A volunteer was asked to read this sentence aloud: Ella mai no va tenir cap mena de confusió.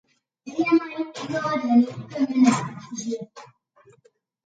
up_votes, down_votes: 0, 2